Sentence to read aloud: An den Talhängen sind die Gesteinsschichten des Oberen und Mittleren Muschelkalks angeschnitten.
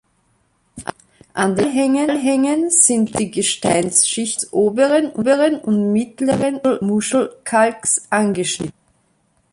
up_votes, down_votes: 0, 2